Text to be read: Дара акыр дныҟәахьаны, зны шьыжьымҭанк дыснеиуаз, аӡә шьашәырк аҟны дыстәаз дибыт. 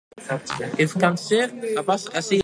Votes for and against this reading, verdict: 1, 2, rejected